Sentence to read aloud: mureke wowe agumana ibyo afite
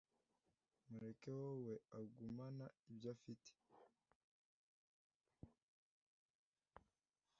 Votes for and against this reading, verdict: 2, 0, accepted